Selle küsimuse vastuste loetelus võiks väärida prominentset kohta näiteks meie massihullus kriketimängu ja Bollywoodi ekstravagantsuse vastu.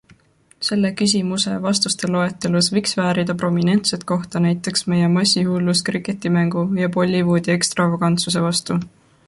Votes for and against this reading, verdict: 2, 0, accepted